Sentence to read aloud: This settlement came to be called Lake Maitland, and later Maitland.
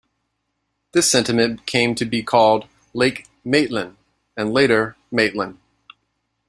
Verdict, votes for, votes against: rejected, 1, 2